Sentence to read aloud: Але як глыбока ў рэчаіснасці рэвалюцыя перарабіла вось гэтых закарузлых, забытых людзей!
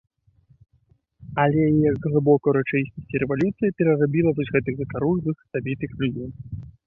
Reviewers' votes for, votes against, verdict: 1, 2, rejected